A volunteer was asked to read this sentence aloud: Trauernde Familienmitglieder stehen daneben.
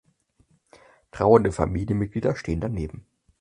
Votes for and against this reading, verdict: 4, 0, accepted